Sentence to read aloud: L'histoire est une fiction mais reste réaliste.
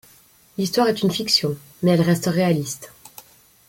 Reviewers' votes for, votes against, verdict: 1, 2, rejected